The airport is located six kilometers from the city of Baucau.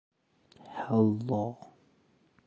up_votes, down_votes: 0, 2